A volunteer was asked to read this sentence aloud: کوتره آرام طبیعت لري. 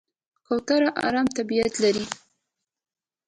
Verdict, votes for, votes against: rejected, 1, 2